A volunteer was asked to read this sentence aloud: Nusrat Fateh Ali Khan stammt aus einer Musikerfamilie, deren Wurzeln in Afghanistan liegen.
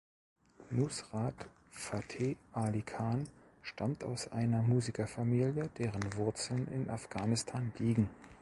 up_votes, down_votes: 2, 0